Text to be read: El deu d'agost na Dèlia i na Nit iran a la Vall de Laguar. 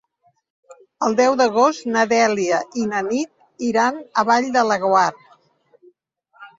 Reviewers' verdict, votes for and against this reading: rejected, 0, 2